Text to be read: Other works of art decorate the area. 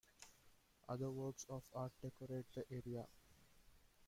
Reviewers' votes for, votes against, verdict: 1, 2, rejected